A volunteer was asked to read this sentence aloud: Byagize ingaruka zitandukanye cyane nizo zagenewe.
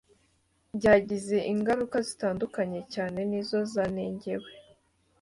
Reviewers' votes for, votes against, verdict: 0, 2, rejected